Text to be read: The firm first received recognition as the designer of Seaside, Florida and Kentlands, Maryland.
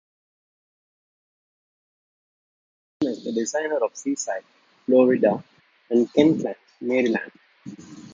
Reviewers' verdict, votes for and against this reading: rejected, 0, 2